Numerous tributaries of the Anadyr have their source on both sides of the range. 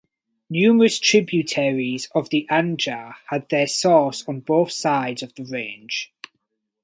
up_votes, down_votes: 2, 4